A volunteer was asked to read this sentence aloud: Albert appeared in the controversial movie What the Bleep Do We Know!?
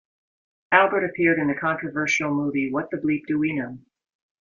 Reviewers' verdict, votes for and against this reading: accepted, 2, 0